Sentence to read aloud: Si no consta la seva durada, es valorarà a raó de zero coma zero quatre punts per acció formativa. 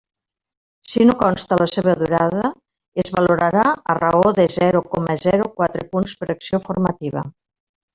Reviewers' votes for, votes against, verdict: 3, 1, accepted